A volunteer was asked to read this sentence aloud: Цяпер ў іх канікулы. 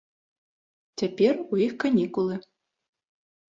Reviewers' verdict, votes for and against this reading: accepted, 2, 0